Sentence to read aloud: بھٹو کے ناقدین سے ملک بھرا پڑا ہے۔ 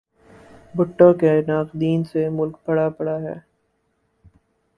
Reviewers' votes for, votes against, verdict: 4, 0, accepted